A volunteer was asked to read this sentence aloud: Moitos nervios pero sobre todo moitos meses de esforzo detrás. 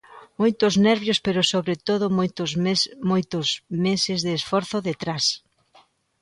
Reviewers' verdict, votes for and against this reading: rejected, 0, 2